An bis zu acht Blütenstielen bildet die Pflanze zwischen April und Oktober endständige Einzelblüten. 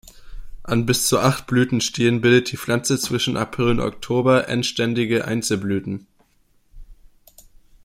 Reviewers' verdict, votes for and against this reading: accepted, 2, 1